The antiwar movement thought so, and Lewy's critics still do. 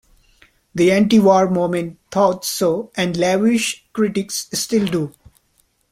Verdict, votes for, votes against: accepted, 3, 0